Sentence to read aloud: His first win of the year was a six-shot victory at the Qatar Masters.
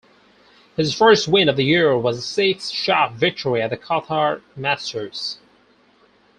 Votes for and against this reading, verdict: 4, 2, accepted